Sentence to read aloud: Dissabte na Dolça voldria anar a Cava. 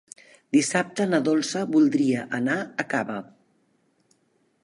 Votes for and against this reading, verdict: 3, 0, accepted